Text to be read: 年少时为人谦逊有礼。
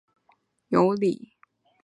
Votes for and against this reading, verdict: 0, 2, rejected